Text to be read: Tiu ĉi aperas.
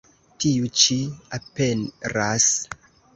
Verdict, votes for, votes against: rejected, 0, 2